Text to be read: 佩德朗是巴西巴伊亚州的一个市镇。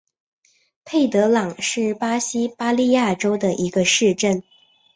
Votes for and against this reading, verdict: 4, 2, accepted